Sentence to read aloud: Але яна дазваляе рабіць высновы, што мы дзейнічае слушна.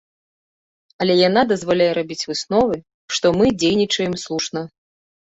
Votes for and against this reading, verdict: 2, 3, rejected